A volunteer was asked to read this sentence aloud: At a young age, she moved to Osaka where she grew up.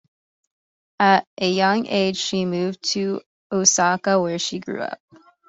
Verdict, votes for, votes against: accepted, 2, 1